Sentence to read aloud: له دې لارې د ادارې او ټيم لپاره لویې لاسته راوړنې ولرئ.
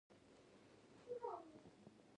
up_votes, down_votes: 0, 2